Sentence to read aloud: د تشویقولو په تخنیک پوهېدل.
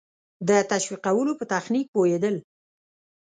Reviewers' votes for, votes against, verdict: 2, 0, accepted